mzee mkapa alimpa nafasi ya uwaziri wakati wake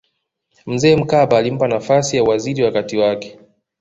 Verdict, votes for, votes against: accepted, 3, 0